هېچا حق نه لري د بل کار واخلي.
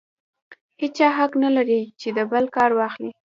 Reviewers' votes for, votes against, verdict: 2, 1, accepted